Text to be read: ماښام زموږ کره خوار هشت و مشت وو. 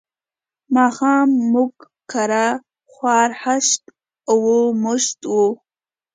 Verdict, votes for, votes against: accepted, 2, 0